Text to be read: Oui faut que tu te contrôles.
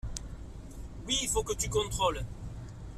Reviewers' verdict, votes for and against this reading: rejected, 1, 2